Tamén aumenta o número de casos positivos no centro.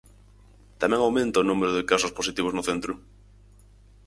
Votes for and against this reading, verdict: 4, 0, accepted